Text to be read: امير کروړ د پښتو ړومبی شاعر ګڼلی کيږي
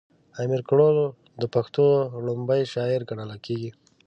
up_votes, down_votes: 3, 0